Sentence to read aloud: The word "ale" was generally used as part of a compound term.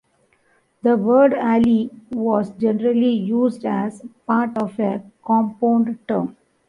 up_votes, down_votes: 1, 2